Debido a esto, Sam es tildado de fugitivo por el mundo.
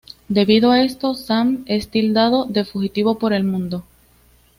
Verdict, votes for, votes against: accepted, 2, 0